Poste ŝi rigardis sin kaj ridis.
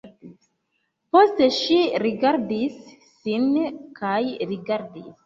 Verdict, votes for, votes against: rejected, 0, 2